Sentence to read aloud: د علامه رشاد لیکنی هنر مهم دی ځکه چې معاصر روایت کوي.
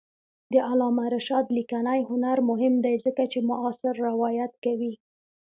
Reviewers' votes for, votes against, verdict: 2, 0, accepted